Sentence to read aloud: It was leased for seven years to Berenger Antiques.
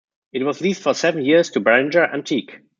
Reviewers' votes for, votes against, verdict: 0, 2, rejected